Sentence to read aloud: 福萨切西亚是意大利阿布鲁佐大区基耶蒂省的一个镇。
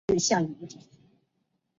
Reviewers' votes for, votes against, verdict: 0, 4, rejected